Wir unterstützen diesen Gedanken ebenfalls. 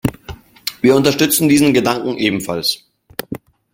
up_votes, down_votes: 2, 0